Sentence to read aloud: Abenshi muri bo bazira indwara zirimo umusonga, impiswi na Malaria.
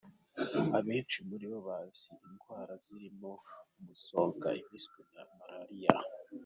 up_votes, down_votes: 1, 2